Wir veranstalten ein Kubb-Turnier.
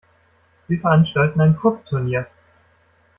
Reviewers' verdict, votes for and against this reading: rejected, 1, 2